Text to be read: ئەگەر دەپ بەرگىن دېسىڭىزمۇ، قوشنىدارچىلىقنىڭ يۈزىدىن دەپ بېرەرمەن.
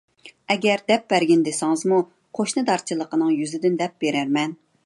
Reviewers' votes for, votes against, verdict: 0, 2, rejected